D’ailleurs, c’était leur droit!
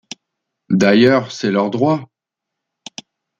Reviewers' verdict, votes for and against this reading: rejected, 0, 2